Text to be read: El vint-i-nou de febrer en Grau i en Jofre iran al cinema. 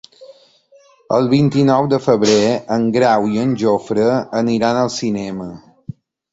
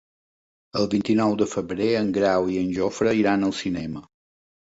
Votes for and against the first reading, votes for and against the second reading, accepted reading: 0, 2, 3, 0, second